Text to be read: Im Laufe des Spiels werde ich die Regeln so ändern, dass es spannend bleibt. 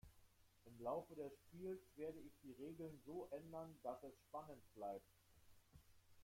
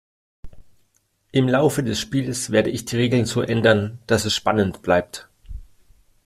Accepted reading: second